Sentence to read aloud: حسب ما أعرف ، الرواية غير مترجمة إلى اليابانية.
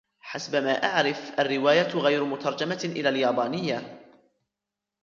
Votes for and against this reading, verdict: 2, 1, accepted